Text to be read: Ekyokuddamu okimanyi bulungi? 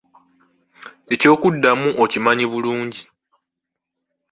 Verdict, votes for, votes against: rejected, 1, 2